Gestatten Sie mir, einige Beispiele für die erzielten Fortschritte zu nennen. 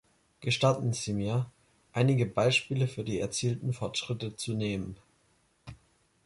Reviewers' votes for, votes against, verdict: 0, 3, rejected